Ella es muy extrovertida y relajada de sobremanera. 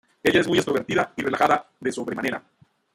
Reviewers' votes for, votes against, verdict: 0, 2, rejected